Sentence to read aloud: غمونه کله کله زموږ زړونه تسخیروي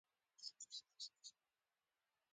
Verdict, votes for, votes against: rejected, 0, 2